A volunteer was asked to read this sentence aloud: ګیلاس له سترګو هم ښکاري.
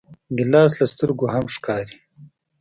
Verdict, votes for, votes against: accepted, 2, 0